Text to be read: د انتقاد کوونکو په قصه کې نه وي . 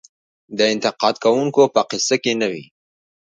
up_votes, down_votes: 2, 0